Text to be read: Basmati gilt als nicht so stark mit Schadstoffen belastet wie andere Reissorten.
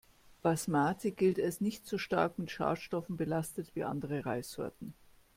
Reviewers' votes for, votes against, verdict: 3, 0, accepted